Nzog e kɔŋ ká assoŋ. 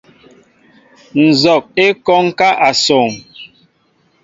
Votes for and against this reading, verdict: 2, 0, accepted